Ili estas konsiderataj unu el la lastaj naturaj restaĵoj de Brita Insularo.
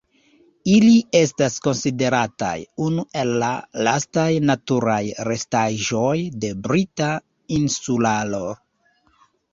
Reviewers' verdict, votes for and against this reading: accepted, 2, 0